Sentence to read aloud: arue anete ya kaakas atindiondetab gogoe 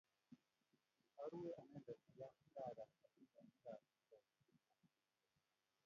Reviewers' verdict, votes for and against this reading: rejected, 0, 2